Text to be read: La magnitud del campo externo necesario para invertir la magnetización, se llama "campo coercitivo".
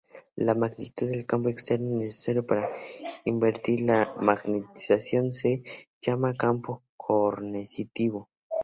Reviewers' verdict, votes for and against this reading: rejected, 0, 2